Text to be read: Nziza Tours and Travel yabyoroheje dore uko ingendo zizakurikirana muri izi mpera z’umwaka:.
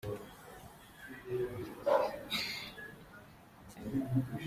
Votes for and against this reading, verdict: 0, 2, rejected